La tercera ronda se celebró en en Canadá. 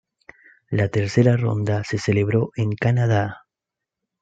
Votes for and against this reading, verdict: 2, 0, accepted